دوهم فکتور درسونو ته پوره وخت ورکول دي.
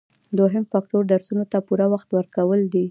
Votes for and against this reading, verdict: 2, 0, accepted